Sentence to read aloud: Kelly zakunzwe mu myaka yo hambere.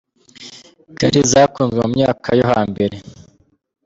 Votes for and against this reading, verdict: 1, 2, rejected